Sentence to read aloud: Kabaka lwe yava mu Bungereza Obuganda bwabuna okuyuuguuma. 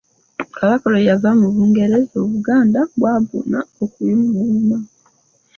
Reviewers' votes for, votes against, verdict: 0, 2, rejected